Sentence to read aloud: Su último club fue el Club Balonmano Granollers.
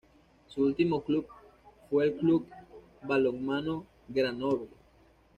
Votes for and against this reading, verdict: 2, 1, accepted